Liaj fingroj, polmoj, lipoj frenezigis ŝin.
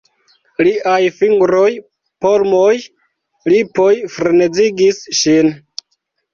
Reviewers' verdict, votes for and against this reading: accepted, 2, 0